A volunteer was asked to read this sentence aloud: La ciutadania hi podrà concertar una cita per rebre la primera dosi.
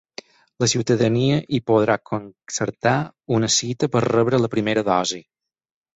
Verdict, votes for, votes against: accepted, 6, 0